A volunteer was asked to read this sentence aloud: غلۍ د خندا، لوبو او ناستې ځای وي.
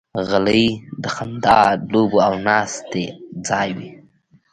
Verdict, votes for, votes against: rejected, 0, 2